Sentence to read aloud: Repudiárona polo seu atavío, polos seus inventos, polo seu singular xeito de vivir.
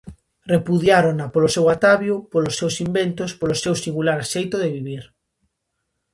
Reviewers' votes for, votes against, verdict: 0, 2, rejected